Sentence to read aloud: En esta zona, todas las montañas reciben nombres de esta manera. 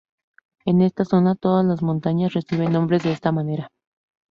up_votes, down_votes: 0, 2